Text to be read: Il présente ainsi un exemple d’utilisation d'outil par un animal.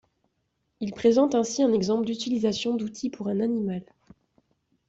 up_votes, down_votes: 0, 2